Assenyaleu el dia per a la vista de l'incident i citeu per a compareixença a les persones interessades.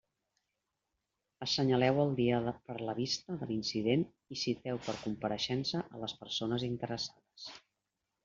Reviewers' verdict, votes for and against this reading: rejected, 1, 2